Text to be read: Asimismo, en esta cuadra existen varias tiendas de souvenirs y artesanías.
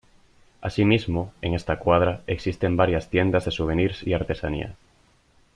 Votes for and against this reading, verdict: 2, 0, accepted